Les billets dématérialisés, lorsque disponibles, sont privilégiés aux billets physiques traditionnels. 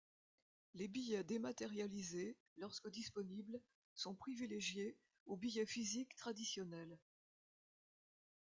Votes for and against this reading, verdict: 1, 2, rejected